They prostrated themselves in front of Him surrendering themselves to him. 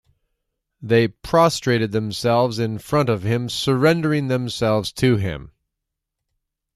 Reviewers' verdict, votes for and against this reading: accepted, 2, 0